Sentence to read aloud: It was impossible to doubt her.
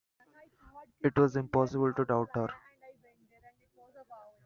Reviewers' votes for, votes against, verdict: 2, 1, accepted